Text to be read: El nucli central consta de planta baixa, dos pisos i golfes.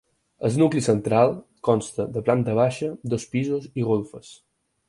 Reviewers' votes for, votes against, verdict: 4, 0, accepted